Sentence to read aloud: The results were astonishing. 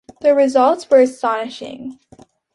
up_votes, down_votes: 2, 0